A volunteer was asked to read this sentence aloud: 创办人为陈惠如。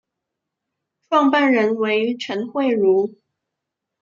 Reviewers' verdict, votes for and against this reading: accepted, 2, 0